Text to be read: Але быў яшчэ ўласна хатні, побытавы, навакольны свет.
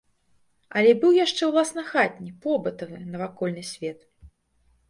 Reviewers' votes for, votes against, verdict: 2, 0, accepted